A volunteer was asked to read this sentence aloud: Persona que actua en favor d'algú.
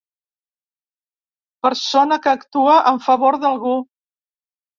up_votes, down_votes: 3, 0